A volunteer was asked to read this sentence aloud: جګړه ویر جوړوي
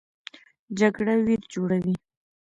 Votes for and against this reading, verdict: 2, 0, accepted